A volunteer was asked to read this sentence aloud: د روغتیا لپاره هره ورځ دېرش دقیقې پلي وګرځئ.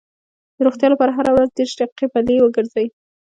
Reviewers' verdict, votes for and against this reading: rejected, 1, 2